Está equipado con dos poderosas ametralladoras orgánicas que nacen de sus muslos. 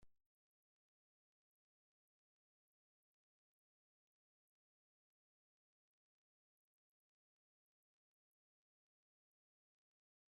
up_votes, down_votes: 0, 2